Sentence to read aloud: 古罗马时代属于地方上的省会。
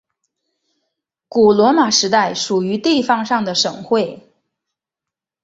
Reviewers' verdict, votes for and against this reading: accepted, 2, 0